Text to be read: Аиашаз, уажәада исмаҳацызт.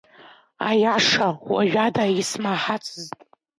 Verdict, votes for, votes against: rejected, 1, 2